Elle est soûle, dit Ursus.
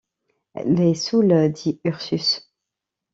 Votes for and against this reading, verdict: 0, 2, rejected